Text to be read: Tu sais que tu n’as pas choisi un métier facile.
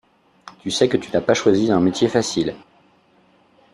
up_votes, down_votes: 2, 0